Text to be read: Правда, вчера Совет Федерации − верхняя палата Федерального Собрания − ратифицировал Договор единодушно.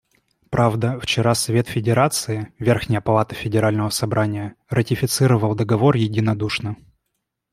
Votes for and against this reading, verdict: 2, 0, accepted